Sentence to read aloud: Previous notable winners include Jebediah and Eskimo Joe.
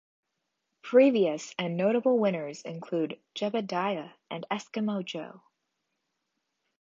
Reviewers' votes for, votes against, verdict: 2, 1, accepted